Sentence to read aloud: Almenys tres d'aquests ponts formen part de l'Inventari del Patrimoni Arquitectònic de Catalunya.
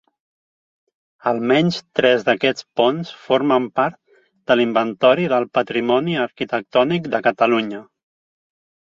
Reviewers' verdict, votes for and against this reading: rejected, 0, 2